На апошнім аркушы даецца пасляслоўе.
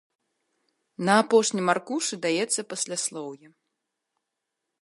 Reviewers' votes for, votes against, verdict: 2, 0, accepted